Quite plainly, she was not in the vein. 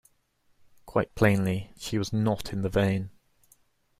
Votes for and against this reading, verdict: 2, 0, accepted